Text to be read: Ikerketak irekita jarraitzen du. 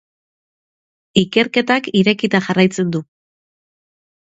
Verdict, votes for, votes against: accepted, 4, 0